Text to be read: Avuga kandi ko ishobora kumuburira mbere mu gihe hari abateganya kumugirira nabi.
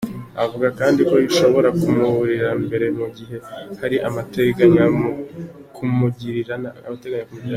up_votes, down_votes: 0, 2